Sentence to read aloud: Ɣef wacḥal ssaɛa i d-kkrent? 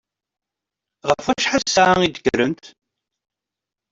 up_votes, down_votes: 2, 1